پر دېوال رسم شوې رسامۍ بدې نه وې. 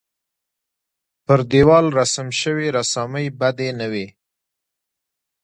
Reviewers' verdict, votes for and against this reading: accepted, 2, 1